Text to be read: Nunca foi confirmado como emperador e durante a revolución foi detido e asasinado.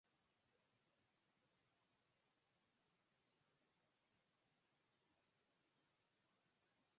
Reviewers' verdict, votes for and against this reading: rejected, 0, 6